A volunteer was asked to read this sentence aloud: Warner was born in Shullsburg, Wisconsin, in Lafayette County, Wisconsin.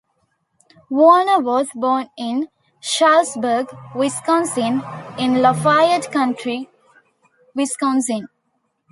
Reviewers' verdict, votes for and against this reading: accepted, 2, 0